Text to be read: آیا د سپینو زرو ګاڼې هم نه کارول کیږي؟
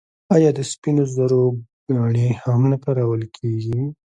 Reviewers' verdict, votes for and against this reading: rejected, 0, 2